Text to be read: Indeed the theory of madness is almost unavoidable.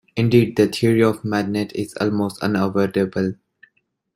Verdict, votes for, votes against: rejected, 0, 2